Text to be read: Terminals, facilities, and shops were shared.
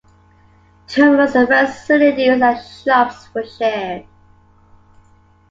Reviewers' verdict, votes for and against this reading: accepted, 2, 0